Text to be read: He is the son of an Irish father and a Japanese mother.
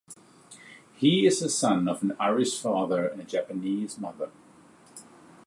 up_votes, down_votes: 2, 0